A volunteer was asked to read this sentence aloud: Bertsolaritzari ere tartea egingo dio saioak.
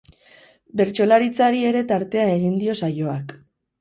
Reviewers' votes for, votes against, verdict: 4, 4, rejected